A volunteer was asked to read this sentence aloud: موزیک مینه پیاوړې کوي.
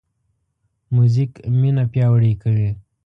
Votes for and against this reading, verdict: 2, 0, accepted